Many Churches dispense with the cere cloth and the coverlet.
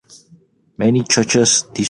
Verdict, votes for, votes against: rejected, 0, 2